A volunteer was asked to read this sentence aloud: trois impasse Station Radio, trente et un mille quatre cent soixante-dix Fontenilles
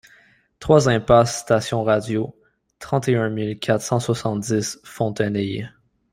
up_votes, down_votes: 0, 2